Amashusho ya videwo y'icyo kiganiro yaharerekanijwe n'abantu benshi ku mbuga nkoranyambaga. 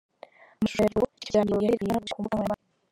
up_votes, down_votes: 0, 2